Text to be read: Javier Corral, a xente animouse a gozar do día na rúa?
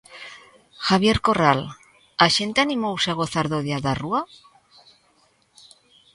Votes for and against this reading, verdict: 1, 2, rejected